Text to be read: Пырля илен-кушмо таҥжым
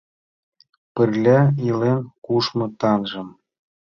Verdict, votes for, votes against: accepted, 2, 0